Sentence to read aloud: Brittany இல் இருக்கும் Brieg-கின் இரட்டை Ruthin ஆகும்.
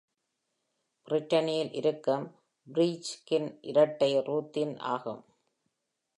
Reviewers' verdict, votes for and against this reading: accepted, 2, 0